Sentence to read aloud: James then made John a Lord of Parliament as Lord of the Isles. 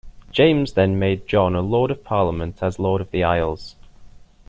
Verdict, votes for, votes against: accepted, 2, 0